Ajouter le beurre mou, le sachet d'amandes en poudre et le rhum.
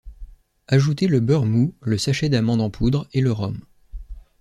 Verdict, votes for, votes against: accepted, 2, 0